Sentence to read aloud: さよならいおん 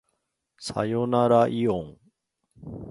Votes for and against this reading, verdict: 2, 0, accepted